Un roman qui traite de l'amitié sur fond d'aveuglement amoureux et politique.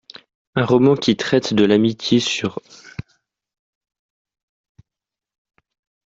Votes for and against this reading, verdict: 0, 2, rejected